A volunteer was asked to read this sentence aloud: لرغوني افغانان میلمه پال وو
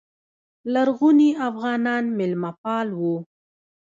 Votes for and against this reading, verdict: 0, 2, rejected